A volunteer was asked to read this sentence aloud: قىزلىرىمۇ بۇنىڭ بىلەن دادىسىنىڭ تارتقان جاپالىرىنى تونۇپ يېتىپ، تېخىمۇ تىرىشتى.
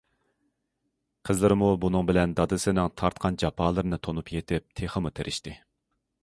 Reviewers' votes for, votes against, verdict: 2, 0, accepted